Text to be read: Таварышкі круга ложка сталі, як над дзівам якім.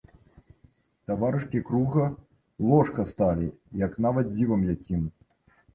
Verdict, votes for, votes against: rejected, 0, 3